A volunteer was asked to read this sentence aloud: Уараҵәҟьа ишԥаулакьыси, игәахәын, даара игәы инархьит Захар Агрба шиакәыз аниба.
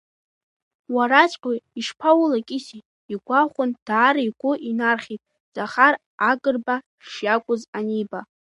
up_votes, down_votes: 2, 0